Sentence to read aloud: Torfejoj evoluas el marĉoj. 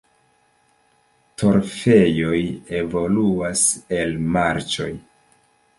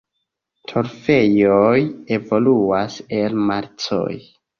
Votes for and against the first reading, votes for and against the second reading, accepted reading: 2, 1, 1, 2, first